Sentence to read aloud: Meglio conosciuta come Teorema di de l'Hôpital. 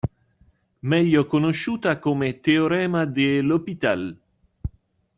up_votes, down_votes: 1, 2